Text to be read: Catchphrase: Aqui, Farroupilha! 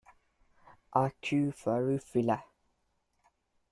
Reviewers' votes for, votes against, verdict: 0, 2, rejected